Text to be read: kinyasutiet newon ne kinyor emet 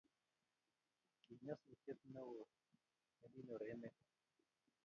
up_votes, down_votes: 1, 2